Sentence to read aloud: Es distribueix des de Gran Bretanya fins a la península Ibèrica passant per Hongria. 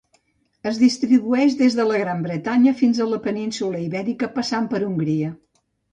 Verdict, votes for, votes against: rejected, 0, 2